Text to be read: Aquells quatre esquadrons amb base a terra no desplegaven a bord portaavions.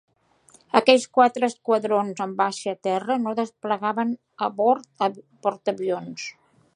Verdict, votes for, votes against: rejected, 0, 2